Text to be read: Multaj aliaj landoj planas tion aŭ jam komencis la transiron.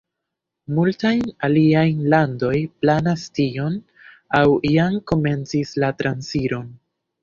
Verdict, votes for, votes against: rejected, 0, 2